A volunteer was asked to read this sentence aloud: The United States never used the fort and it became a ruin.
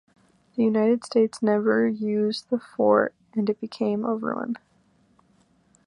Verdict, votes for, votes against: accepted, 2, 0